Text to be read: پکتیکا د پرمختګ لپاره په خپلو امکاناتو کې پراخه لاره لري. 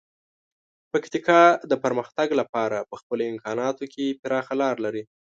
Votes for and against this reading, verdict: 2, 0, accepted